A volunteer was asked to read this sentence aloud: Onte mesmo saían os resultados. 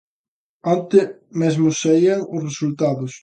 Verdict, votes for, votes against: accepted, 2, 0